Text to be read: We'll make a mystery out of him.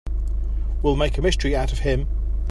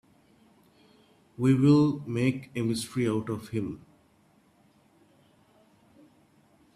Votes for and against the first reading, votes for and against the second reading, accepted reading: 2, 0, 1, 2, first